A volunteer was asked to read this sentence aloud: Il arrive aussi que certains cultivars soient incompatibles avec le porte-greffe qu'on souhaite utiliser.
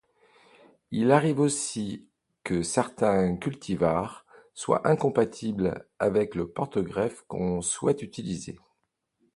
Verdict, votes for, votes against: accepted, 2, 0